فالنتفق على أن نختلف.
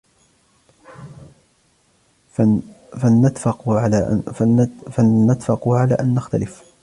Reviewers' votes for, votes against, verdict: 0, 2, rejected